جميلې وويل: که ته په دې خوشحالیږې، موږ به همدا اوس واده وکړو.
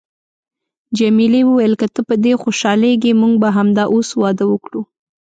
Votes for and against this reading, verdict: 2, 0, accepted